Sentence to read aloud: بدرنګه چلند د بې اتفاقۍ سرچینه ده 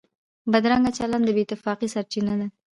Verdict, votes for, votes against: accepted, 2, 1